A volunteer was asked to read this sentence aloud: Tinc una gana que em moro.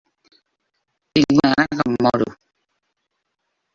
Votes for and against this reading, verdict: 0, 2, rejected